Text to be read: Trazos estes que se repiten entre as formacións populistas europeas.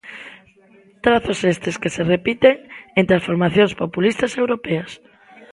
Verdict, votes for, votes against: accepted, 2, 0